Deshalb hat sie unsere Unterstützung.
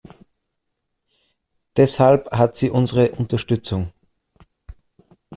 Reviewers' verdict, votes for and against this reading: accepted, 2, 0